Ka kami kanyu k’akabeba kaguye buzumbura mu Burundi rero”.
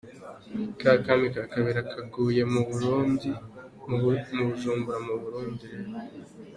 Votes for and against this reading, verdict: 2, 0, accepted